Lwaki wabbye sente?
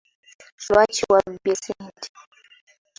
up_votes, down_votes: 2, 1